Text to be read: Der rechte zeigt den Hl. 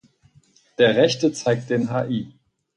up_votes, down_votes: 2, 4